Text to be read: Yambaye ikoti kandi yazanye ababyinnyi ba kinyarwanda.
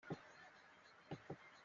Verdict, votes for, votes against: rejected, 0, 2